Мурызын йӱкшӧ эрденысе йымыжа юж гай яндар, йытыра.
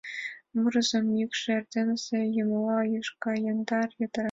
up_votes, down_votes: 2, 0